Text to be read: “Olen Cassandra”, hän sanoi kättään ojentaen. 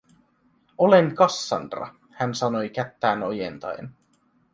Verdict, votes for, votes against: accepted, 2, 0